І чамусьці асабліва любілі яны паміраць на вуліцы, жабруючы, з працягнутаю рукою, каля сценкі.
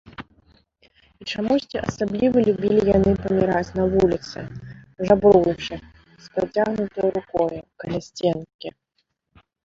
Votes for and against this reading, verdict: 2, 1, accepted